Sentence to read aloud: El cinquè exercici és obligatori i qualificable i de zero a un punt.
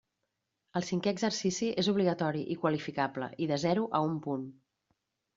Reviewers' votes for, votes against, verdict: 3, 0, accepted